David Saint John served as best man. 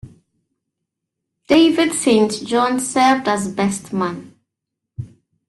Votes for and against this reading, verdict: 0, 2, rejected